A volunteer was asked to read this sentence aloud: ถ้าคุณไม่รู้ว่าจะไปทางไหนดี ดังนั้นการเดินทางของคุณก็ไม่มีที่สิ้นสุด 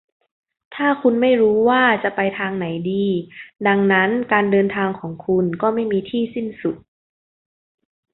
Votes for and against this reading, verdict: 2, 0, accepted